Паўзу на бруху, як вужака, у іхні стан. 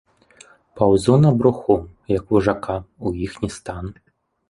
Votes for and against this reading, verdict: 2, 3, rejected